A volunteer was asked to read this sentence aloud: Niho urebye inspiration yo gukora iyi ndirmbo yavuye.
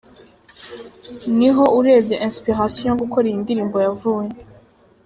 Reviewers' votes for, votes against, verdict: 2, 0, accepted